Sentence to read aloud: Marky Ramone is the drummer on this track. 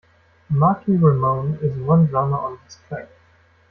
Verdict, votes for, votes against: rejected, 1, 2